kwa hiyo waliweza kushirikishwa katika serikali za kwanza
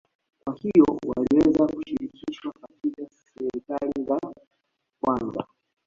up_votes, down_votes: 0, 2